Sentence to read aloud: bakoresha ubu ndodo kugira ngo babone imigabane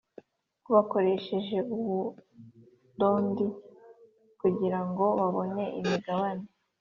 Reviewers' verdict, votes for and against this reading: rejected, 1, 2